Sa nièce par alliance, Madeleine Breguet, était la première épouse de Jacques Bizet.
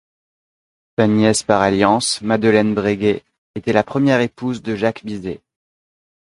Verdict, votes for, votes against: rejected, 0, 2